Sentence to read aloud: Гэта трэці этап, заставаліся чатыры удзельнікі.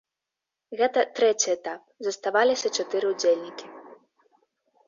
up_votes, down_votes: 2, 0